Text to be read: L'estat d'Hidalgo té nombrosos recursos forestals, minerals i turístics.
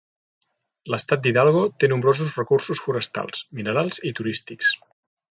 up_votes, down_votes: 5, 0